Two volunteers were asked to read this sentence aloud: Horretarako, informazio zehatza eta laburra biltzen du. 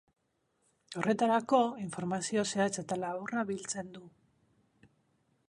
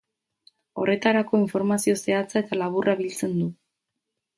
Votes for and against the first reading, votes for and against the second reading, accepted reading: 3, 0, 0, 2, first